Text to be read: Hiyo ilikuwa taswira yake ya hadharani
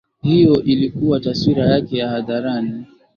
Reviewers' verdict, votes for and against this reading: accepted, 21, 4